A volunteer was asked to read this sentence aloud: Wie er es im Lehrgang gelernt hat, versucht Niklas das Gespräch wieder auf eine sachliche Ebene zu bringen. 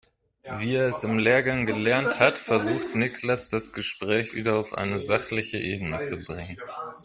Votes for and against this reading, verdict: 0, 2, rejected